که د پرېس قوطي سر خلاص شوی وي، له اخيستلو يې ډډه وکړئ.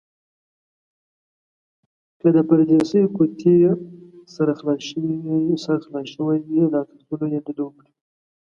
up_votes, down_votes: 2, 7